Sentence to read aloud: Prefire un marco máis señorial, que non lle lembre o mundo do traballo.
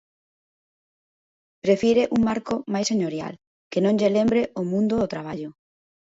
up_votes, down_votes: 2, 0